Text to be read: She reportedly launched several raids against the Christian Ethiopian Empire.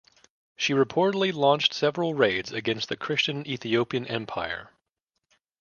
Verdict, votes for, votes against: rejected, 0, 2